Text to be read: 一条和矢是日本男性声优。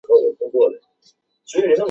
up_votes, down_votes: 0, 3